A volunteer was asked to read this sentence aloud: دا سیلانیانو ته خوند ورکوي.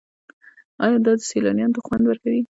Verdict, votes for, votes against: rejected, 1, 2